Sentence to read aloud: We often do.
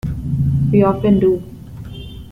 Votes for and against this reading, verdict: 2, 0, accepted